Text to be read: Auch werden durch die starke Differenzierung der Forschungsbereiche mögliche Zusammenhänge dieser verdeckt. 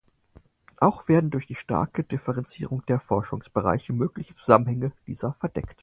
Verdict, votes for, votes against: accepted, 4, 0